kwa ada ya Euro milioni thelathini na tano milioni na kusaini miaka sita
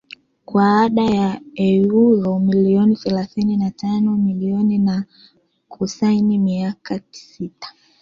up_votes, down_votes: 0, 2